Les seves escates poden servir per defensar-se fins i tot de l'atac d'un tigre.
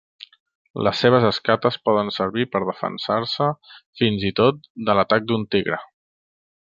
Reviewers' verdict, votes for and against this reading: accepted, 3, 0